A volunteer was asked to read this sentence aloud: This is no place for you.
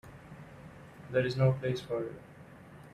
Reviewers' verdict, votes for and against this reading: rejected, 0, 2